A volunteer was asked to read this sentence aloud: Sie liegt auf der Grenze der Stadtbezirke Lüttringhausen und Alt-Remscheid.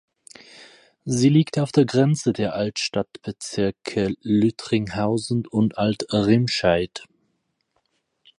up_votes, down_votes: 0, 4